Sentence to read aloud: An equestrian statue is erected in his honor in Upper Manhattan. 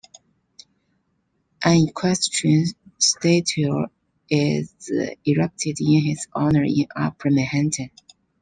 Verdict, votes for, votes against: rejected, 0, 2